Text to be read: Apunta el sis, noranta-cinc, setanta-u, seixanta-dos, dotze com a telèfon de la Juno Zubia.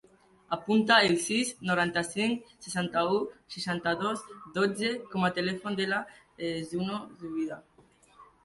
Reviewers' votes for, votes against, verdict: 1, 2, rejected